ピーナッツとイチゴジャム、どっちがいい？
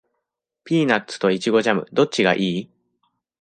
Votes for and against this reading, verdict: 2, 0, accepted